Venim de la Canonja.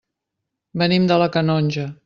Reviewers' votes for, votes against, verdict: 2, 0, accepted